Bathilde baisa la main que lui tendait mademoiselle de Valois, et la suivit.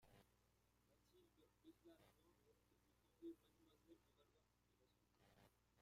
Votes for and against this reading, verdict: 0, 2, rejected